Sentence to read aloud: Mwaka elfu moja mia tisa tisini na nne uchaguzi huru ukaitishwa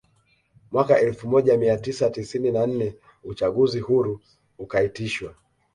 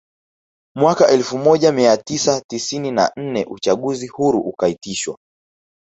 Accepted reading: first